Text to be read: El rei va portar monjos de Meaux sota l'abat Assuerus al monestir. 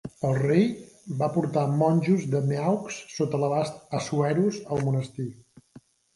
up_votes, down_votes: 0, 2